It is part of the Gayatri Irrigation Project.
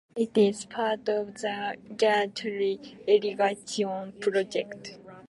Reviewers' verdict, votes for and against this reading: rejected, 0, 2